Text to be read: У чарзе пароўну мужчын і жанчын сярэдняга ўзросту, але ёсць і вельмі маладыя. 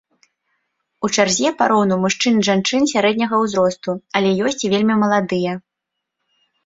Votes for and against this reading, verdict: 2, 0, accepted